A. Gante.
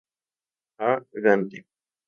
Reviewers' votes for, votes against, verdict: 2, 0, accepted